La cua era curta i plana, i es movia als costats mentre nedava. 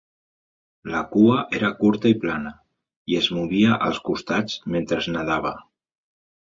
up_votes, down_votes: 1, 2